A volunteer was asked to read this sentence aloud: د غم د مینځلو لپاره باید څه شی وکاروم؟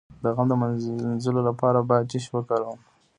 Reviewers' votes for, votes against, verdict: 1, 2, rejected